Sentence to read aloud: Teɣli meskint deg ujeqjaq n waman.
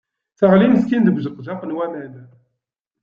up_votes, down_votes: 2, 0